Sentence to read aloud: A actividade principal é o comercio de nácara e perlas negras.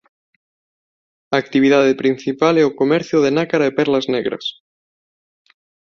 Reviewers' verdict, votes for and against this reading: rejected, 0, 2